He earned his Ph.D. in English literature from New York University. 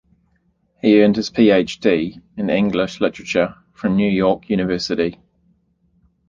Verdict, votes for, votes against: accepted, 2, 0